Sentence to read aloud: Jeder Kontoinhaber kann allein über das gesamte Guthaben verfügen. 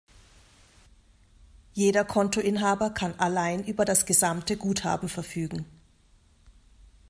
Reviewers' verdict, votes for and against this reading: accepted, 2, 0